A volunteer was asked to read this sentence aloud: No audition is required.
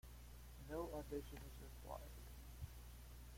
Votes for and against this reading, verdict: 1, 2, rejected